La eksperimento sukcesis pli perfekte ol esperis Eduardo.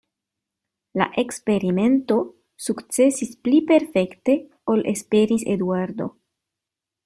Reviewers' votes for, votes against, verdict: 2, 0, accepted